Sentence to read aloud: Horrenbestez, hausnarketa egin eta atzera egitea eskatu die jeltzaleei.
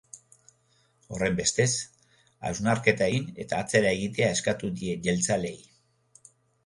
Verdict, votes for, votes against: accepted, 3, 0